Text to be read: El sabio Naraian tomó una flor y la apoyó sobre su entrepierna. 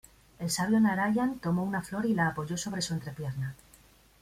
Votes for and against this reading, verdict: 2, 0, accepted